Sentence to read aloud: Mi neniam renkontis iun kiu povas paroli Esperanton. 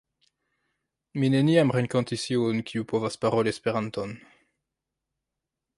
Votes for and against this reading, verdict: 1, 2, rejected